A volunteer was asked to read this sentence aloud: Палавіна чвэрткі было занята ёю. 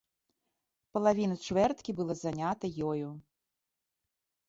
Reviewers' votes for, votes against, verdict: 2, 0, accepted